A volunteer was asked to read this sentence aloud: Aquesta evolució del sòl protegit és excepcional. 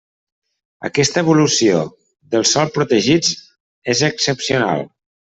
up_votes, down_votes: 1, 2